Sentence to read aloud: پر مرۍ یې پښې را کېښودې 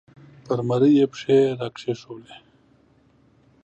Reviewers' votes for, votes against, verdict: 5, 0, accepted